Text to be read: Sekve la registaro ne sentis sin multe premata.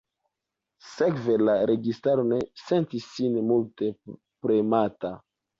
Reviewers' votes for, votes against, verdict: 2, 0, accepted